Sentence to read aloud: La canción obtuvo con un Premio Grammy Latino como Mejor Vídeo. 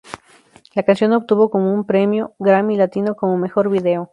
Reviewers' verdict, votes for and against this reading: accepted, 2, 0